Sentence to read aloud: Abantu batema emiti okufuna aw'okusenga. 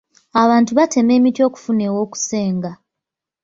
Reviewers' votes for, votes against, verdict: 0, 2, rejected